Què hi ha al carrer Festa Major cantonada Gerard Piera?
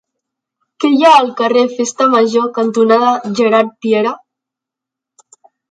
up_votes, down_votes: 3, 0